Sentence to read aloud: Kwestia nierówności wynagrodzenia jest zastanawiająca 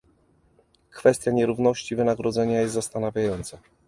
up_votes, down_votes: 2, 1